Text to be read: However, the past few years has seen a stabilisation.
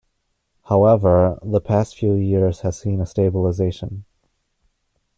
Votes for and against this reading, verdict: 1, 2, rejected